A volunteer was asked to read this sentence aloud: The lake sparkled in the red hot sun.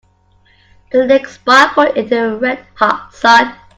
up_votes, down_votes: 1, 2